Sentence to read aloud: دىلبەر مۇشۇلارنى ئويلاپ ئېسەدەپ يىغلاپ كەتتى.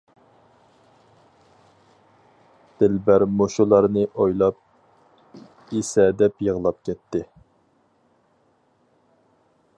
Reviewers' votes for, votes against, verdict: 4, 0, accepted